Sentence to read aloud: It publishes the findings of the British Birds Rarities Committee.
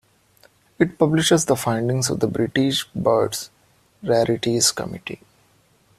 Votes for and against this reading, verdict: 2, 0, accepted